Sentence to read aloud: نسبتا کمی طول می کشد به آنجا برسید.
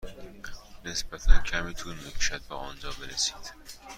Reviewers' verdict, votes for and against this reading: accepted, 2, 0